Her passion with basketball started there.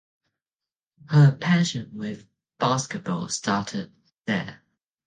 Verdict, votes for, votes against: accepted, 2, 0